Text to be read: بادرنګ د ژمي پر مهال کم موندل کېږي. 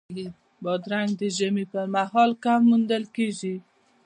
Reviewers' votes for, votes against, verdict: 2, 0, accepted